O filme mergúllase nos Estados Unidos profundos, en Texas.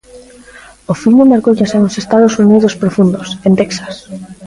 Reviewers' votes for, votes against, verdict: 0, 2, rejected